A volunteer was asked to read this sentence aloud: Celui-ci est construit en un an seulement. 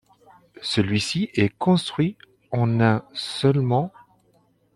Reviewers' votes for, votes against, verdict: 0, 2, rejected